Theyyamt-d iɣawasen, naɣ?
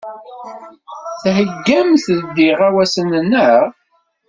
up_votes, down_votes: 2, 0